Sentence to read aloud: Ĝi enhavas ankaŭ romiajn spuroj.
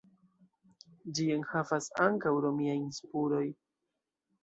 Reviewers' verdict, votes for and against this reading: rejected, 1, 2